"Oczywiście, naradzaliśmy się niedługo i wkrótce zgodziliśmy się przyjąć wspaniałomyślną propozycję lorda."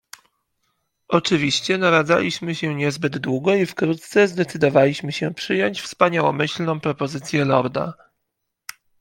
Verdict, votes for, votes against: rejected, 0, 2